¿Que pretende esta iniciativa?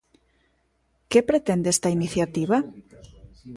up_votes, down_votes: 2, 0